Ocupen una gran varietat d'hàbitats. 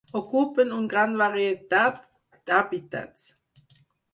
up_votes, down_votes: 2, 4